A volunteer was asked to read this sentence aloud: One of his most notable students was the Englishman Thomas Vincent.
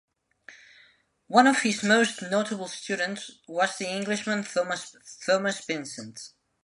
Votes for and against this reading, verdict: 0, 2, rejected